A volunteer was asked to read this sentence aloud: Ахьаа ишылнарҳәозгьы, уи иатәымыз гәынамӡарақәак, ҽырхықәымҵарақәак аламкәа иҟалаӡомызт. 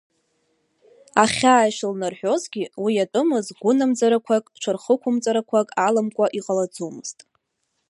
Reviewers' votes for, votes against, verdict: 2, 1, accepted